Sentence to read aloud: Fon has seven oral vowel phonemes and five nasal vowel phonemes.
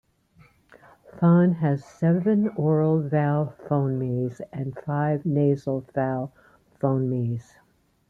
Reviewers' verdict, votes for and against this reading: accepted, 2, 0